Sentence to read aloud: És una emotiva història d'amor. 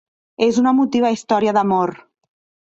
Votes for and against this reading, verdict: 2, 0, accepted